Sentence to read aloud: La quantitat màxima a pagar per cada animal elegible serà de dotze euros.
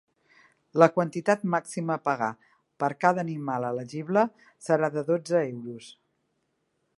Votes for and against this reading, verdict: 2, 0, accepted